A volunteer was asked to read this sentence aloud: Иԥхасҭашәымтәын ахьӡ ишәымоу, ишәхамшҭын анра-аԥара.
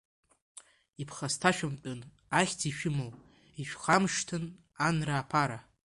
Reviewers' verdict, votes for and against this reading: rejected, 1, 2